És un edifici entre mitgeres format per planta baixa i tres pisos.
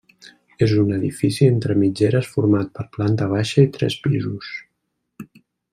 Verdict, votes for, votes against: accepted, 3, 0